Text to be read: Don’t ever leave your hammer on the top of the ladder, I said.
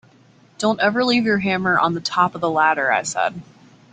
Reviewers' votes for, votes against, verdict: 2, 0, accepted